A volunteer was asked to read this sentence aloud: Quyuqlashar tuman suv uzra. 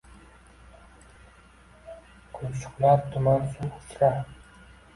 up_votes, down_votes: 0, 2